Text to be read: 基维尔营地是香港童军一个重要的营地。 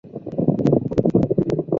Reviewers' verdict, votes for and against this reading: rejected, 0, 2